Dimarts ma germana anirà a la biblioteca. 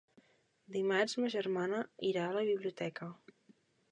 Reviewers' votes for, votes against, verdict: 0, 2, rejected